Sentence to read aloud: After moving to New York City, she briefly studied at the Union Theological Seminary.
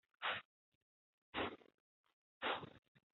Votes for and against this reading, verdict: 0, 2, rejected